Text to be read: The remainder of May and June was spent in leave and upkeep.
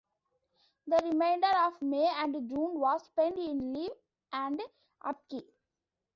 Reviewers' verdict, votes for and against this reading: rejected, 1, 2